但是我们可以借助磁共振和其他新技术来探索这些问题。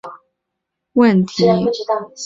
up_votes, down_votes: 1, 2